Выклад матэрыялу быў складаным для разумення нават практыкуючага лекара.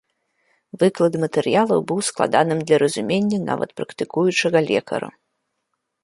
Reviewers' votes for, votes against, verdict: 4, 0, accepted